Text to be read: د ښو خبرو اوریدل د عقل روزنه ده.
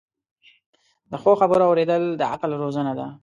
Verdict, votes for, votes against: accepted, 2, 0